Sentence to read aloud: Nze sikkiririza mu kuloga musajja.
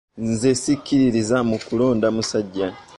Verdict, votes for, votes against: rejected, 0, 2